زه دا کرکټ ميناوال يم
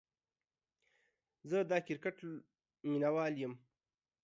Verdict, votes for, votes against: accepted, 2, 0